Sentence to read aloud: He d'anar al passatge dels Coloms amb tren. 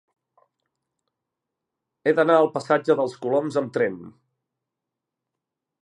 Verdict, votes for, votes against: accepted, 2, 0